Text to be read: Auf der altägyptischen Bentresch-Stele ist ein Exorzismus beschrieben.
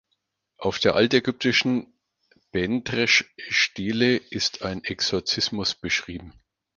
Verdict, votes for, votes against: accepted, 4, 0